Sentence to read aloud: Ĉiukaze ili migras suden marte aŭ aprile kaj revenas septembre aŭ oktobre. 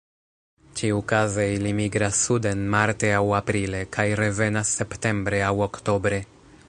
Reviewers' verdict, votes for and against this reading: rejected, 1, 2